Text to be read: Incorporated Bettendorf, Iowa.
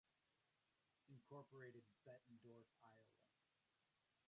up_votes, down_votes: 0, 2